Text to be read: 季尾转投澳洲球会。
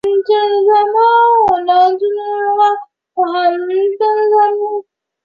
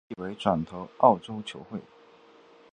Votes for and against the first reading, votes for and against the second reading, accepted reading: 3, 4, 2, 0, second